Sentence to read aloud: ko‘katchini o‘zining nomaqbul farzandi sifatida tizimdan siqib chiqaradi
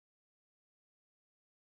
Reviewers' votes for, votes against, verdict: 0, 2, rejected